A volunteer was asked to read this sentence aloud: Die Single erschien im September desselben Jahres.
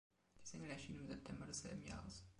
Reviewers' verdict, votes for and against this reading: accepted, 2, 1